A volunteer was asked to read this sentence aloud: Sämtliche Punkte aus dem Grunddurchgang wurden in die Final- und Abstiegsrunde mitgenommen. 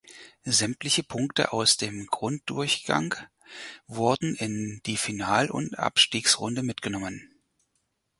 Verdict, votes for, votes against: accepted, 4, 0